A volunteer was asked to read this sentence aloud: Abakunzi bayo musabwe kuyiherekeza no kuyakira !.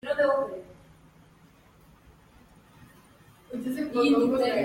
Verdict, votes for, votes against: rejected, 0, 2